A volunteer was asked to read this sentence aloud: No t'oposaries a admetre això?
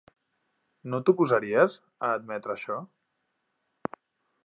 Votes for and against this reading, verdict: 3, 0, accepted